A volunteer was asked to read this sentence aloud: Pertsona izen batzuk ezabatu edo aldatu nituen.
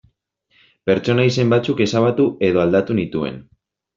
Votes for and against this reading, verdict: 2, 0, accepted